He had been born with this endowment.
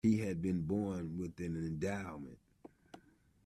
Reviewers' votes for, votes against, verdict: 0, 2, rejected